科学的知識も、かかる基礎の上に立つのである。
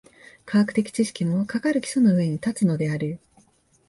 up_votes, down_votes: 2, 0